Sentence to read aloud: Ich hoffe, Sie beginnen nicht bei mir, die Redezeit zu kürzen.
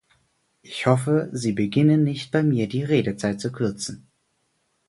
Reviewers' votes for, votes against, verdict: 4, 2, accepted